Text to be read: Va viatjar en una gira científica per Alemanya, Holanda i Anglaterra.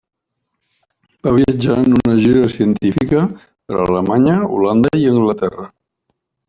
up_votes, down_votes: 0, 2